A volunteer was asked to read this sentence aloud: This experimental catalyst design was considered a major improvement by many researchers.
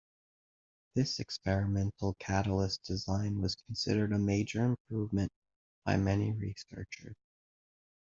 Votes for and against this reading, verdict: 2, 1, accepted